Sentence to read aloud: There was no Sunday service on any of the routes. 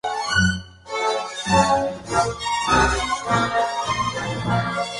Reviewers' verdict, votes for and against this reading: rejected, 0, 4